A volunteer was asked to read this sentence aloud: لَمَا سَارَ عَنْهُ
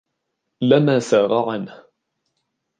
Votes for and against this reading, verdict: 2, 0, accepted